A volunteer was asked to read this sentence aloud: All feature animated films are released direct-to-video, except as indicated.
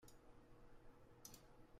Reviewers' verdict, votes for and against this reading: rejected, 0, 2